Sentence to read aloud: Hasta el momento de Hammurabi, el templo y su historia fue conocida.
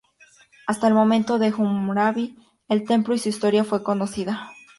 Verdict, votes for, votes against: accepted, 4, 0